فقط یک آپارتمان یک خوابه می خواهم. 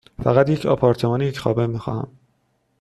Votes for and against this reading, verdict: 2, 0, accepted